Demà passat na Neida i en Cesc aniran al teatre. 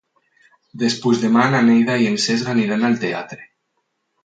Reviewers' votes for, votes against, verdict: 0, 4, rejected